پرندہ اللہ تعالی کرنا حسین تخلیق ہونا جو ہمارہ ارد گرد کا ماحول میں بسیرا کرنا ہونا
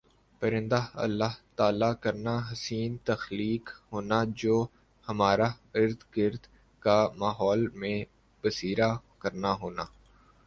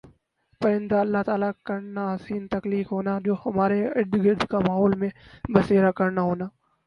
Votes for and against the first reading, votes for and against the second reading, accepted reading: 2, 1, 0, 2, first